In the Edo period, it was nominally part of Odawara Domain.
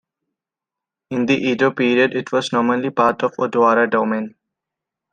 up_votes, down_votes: 2, 0